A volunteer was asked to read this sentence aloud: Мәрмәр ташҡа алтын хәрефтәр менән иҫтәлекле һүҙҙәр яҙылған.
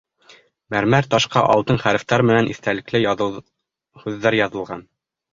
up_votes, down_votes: 0, 2